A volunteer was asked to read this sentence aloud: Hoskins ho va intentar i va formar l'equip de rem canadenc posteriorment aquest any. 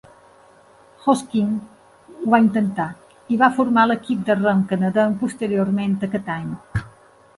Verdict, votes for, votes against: accepted, 2, 0